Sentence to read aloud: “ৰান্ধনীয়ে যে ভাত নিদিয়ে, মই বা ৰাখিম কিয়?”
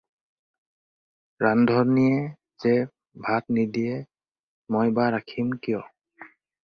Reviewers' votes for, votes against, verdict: 4, 0, accepted